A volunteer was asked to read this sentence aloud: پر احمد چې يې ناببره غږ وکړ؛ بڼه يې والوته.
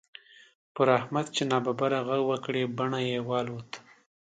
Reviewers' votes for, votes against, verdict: 0, 2, rejected